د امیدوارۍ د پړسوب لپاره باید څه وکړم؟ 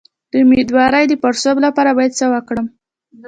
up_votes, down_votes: 2, 0